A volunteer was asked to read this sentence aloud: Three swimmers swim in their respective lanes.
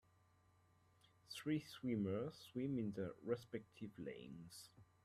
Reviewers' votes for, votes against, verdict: 1, 2, rejected